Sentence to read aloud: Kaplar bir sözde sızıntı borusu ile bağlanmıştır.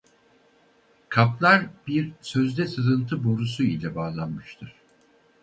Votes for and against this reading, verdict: 2, 2, rejected